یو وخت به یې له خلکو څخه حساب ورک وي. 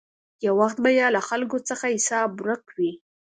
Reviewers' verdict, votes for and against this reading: accepted, 2, 0